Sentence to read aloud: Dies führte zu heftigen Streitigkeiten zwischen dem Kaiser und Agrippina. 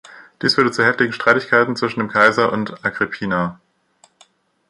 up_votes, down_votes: 2, 0